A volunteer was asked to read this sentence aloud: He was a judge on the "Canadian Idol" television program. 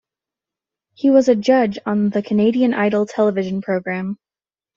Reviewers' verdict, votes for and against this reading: accepted, 2, 0